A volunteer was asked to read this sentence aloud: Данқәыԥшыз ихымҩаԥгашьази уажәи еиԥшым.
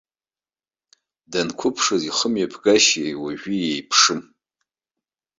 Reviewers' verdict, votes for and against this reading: rejected, 0, 2